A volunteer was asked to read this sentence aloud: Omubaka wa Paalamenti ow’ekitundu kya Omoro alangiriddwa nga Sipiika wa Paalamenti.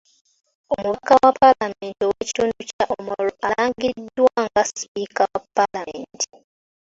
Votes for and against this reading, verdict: 4, 1, accepted